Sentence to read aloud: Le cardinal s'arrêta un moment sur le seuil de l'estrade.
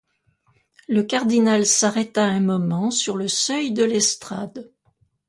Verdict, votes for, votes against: accepted, 2, 0